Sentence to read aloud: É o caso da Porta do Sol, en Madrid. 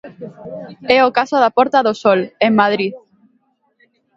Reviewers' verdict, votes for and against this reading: accepted, 2, 0